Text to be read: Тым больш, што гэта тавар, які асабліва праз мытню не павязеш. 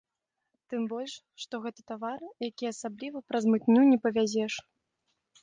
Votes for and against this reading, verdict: 1, 2, rejected